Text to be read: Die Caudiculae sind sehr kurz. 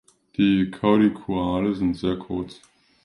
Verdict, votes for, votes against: rejected, 0, 2